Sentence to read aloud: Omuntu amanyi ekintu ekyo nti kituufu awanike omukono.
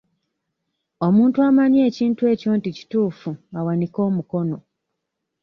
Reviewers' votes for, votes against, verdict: 3, 0, accepted